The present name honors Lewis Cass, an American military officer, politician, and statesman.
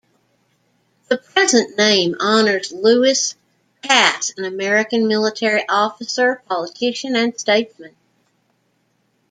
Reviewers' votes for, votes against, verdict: 1, 2, rejected